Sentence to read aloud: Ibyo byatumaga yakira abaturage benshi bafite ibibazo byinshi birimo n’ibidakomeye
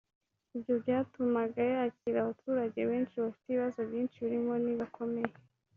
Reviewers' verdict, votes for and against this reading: rejected, 1, 2